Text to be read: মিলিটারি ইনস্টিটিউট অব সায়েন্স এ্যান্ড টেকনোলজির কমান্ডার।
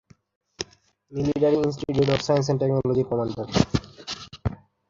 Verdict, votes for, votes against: rejected, 0, 2